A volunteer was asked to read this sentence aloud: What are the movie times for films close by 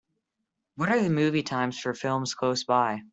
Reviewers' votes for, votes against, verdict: 2, 0, accepted